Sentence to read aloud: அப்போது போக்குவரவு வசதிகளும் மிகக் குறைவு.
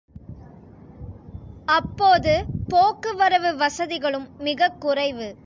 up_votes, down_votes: 2, 0